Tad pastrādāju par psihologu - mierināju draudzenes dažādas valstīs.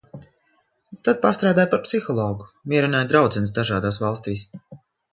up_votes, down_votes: 2, 0